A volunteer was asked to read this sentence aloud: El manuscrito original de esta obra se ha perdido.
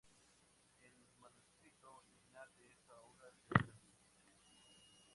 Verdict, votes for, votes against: rejected, 0, 2